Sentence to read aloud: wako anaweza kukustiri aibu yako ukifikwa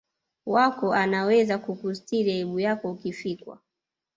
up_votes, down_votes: 0, 2